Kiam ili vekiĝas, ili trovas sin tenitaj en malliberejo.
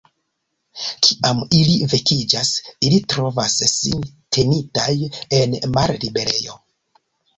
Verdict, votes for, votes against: accepted, 2, 1